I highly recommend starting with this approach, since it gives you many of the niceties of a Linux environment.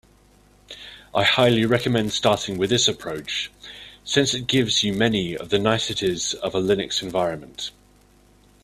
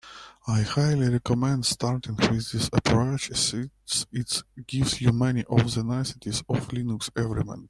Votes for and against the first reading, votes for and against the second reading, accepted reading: 2, 0, 0, 2, first